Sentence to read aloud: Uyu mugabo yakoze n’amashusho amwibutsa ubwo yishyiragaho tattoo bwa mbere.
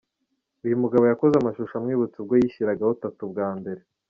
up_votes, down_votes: 1, 2